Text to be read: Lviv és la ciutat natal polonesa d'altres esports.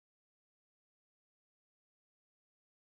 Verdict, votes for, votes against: rejected, 0, 2